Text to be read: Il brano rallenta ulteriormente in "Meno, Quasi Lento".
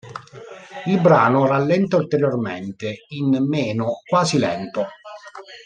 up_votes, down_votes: 1, 2